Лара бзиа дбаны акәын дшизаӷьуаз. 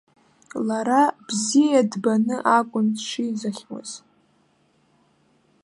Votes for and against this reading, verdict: 0, 2, rejected